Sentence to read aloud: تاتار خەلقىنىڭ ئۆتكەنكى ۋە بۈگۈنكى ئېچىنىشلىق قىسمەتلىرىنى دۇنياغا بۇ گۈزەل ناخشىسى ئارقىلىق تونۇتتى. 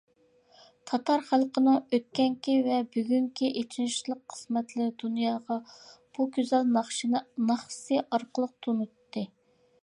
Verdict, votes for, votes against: rejected, 0, 2